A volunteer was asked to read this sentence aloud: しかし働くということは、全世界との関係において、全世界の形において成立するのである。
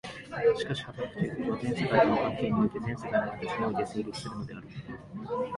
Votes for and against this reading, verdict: 2, 1, accepted